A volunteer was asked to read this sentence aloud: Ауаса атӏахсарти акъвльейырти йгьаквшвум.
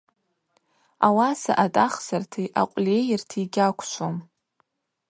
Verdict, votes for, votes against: accepted, 2, 0